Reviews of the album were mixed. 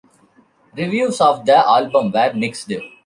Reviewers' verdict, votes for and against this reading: rejected, 1, 2